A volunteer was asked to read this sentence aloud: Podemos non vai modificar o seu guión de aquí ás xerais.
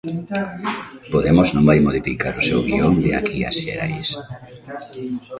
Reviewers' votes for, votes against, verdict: 0, 2, rejected